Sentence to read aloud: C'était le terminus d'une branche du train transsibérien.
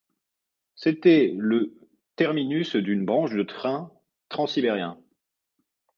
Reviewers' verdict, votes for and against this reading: rejected, 1, 2